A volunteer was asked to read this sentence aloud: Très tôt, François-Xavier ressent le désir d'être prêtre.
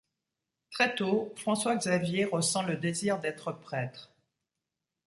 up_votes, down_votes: 2, 0